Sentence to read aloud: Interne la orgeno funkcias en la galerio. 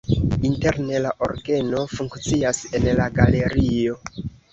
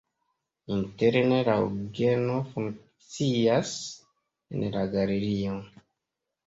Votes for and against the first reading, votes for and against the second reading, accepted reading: 2, 0, 1, 2, first